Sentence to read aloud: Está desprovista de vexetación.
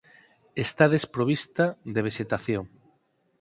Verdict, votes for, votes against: accepted, 4, 0